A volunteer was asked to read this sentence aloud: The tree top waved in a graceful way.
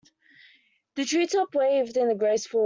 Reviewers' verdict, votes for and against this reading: rejected, 1, 2